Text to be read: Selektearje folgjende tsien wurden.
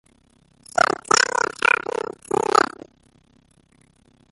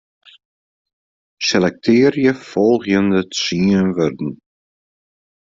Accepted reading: second